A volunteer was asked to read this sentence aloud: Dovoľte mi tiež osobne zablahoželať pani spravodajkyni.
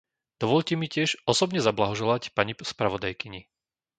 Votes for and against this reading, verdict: 0, 2, rejected